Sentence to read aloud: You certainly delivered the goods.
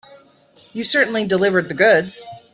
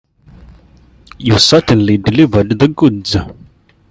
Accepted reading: second